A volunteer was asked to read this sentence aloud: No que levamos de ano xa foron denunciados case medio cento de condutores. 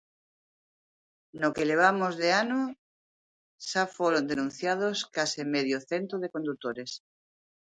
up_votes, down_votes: 2, 0